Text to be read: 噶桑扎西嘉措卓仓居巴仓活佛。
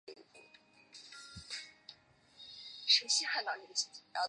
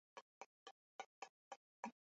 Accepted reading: second